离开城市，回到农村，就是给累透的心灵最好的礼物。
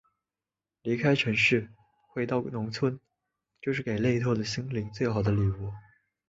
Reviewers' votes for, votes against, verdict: 1, 2, rejected